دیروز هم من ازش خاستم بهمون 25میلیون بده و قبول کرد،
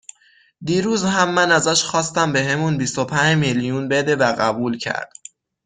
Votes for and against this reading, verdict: 0, 2, rejected